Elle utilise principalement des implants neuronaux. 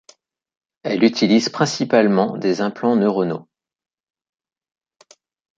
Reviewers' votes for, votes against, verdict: 2, 0, accepted